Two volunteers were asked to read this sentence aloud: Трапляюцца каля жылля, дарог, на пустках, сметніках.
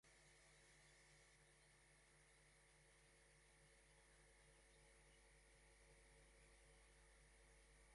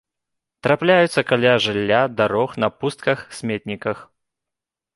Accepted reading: second